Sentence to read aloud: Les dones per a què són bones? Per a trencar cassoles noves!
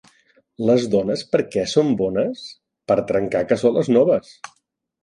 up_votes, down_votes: 1, 2